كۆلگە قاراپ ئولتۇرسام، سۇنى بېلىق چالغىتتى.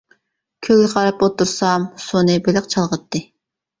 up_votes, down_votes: 1, 2